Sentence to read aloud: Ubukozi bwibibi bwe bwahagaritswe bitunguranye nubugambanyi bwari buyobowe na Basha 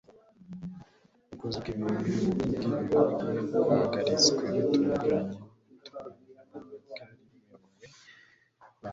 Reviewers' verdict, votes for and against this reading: rejected, 1, 2